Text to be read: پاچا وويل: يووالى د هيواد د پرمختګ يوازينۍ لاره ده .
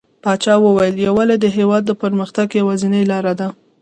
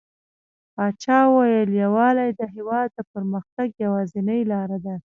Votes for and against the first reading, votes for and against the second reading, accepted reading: 1, 2, 2, 0, second